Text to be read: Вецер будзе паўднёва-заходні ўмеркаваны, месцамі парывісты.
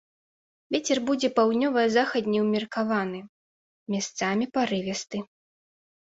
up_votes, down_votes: 1, 2